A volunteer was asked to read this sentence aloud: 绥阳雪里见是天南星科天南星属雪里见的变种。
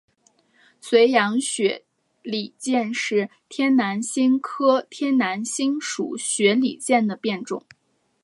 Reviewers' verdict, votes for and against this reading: accepted, 2, 1